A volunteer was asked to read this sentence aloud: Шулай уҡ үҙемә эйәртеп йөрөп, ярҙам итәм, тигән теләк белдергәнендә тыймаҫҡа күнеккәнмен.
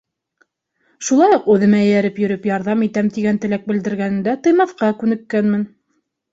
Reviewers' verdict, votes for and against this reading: rejected, 0, 2